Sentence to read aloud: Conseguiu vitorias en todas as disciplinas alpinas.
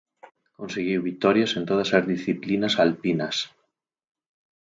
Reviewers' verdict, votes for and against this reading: accepted, 4, 0